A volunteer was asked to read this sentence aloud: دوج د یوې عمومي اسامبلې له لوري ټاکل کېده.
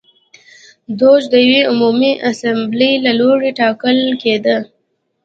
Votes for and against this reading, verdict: 2, 0, accepted